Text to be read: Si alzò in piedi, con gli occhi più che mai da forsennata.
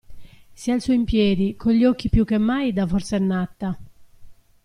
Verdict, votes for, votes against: accepted, 2, 0